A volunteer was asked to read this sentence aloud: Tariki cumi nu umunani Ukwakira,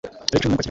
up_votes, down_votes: 1, 2